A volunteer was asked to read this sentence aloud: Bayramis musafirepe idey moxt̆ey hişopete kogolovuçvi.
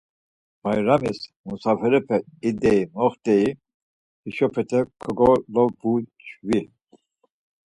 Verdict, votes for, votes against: accepted, 4, 0